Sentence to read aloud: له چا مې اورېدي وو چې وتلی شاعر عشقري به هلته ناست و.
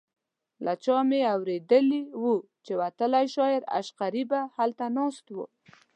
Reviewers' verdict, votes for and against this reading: rejected, 1, 2